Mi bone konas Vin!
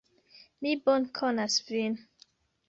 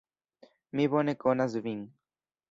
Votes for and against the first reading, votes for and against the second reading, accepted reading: 1, 2, 2, 1, second